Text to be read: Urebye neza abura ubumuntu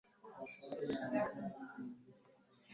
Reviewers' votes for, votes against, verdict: 1, 2, rejected